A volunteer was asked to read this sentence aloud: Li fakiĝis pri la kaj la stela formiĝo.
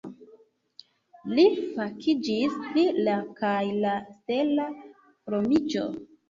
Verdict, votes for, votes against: rejected, 1, 2